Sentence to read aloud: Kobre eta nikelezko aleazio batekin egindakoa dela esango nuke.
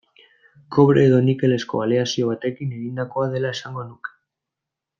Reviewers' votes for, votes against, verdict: 0, 2, rejected